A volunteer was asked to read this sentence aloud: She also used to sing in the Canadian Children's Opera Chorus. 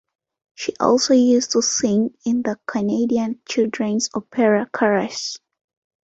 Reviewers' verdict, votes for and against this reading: accepted, 2, 1